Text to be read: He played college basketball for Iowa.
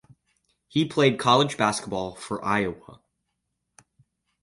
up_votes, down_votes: 4, 0